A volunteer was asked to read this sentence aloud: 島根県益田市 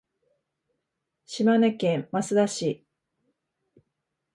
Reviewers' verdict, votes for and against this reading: accepted, 2, 1